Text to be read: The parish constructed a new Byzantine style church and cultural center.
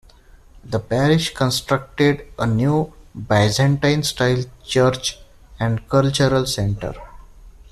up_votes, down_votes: 2, 0